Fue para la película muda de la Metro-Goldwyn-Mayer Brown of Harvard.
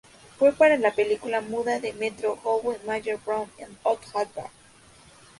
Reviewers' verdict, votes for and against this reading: rejected, 0, 2